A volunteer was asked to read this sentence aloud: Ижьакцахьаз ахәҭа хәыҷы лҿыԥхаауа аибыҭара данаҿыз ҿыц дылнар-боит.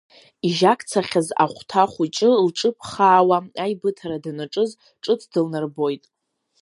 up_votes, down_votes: 3, 0